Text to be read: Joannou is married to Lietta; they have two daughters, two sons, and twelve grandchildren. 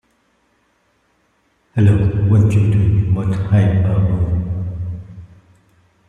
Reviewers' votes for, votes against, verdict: 0, 2, rejected